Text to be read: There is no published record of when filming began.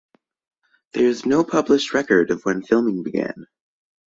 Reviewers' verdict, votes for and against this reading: accepted, 2, 0